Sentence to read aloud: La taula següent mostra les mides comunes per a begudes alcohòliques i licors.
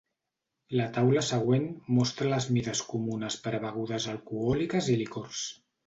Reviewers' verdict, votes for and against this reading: accepted, 2, 0